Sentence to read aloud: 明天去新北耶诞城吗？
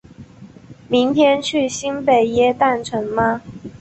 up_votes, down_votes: 3, 0